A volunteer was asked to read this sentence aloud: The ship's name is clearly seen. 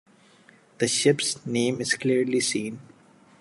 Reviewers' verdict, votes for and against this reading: accepted, 2, 0